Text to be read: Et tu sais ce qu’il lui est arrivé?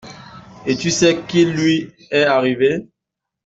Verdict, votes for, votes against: rejected, 0, 2